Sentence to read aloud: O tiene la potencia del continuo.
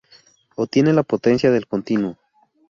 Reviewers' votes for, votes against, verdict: 0, 2, rejected